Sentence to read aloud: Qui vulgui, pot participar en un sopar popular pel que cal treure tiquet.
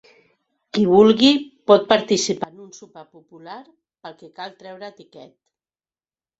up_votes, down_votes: 1, 2